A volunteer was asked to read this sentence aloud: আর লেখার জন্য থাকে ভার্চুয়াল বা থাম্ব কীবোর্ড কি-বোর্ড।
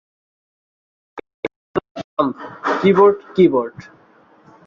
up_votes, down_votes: 0, 3